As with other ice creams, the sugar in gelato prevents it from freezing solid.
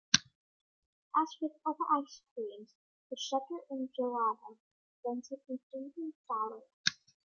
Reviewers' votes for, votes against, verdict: 2, 1, accepted